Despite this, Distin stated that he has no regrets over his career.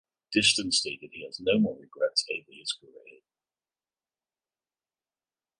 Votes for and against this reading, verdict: 0, 2, rejected